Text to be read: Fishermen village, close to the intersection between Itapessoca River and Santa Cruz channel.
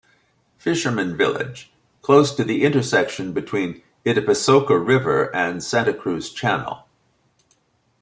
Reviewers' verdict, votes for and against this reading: accepted, 2, 0